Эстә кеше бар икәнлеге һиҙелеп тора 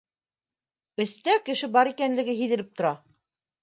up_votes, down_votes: 2, 0